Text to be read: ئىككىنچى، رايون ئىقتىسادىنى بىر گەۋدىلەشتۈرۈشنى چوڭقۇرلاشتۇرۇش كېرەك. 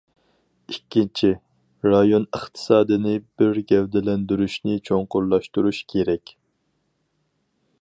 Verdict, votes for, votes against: rejected, 2, 2